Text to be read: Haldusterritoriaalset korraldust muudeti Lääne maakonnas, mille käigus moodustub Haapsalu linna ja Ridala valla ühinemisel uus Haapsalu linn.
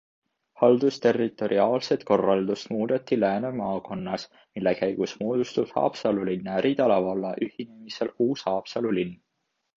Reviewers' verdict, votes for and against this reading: accepted, 2, 1